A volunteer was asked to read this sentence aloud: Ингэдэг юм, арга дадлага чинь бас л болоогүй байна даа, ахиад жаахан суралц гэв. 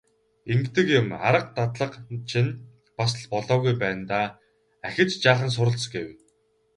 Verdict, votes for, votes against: accepted, 4, 2